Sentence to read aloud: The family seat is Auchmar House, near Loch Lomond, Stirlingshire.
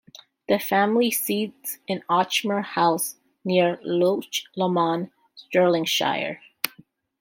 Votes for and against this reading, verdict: 0, 2, rejected